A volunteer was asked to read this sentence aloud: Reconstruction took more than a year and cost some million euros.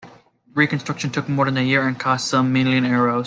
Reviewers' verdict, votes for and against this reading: accepted, 2, 1